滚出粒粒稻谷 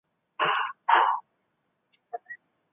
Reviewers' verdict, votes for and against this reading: rejected, 0, 3